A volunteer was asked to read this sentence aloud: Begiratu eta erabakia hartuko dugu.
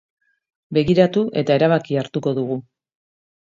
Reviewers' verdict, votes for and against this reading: accepted, 2, 0